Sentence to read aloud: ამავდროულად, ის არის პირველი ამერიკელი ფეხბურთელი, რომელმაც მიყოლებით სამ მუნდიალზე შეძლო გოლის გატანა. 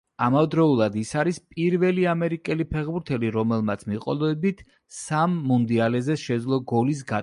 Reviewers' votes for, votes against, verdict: 0, 2, rejected